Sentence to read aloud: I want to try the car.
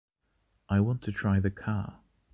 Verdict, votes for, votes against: accepted, 2, 0